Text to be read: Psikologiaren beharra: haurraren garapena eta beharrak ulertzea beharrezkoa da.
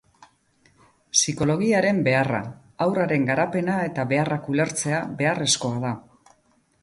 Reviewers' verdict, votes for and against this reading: accepted, 4, 0